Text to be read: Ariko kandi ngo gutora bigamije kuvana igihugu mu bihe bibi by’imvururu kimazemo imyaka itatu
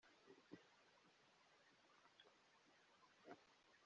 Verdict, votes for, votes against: rejected, 0, 3